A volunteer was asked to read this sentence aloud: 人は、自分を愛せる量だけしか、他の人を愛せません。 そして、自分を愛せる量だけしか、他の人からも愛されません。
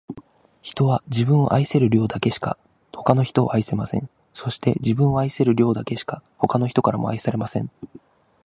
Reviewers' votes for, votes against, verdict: 2, 0, accepted